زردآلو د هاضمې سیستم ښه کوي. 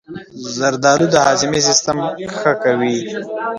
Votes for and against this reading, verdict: 0, 2, rejected